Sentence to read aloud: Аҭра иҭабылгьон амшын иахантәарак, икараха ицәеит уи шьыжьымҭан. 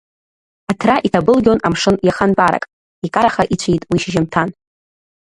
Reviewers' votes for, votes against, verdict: 1, 2, rejected